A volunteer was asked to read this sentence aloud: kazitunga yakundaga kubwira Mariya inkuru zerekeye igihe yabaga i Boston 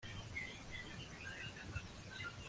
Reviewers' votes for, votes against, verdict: 1, 2, rejected